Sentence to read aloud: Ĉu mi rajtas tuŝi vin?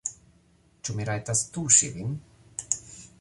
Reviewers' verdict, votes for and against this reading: rejected, 0, 2